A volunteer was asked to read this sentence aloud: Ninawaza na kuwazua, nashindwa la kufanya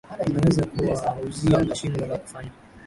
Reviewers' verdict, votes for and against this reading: rejected, 1, 2